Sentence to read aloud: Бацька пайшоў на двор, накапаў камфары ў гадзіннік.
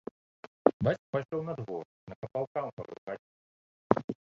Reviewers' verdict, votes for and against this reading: rejected, 1, 3